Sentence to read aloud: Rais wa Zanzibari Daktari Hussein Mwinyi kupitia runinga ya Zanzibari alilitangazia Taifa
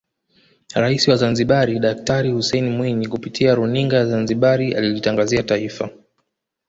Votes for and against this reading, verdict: 2, 1, accepted